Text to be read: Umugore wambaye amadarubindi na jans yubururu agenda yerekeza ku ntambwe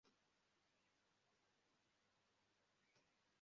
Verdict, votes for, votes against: rejected, 0, 2